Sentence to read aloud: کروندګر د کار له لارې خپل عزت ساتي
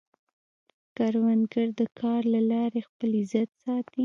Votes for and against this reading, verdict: 2, 0, accepted